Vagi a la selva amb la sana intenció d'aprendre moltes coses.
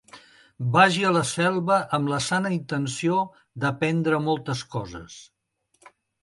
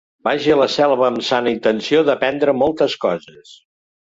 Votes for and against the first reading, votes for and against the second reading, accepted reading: 3, 0, 0, 3, first